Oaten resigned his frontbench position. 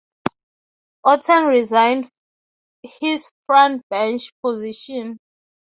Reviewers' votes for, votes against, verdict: 3, 0, accepted